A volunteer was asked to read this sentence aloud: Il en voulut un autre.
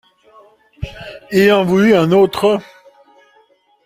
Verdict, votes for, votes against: accepted, 2, 0